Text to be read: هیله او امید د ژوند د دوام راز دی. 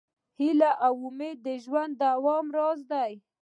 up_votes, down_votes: 2, 1